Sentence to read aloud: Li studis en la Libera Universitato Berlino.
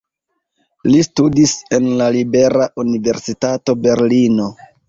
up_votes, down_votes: 1, 2